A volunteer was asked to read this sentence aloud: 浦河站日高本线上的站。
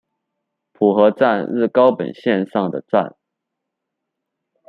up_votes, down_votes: 2, 0